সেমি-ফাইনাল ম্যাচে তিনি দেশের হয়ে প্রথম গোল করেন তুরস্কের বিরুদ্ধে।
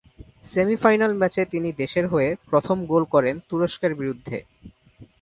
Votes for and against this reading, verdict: 2, 0, accepted